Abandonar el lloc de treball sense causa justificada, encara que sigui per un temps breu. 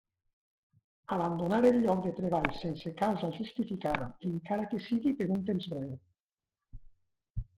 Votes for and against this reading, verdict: 1, 2, rejected